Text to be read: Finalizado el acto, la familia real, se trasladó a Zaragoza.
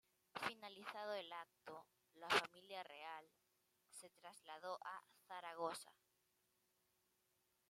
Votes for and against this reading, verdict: 2, 0, accepted